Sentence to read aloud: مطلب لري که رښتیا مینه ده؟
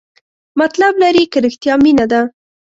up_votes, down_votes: 1, 2